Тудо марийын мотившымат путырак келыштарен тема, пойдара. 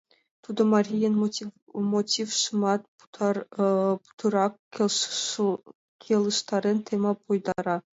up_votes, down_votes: 1, 2